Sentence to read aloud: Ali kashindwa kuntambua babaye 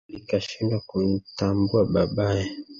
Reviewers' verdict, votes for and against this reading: rejected, 1, 2